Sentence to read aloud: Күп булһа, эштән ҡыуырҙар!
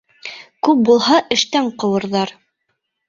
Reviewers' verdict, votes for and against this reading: accepted, 3, 0